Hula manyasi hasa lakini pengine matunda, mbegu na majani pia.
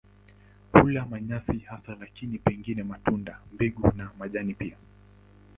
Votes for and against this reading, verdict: 6, 7, rejected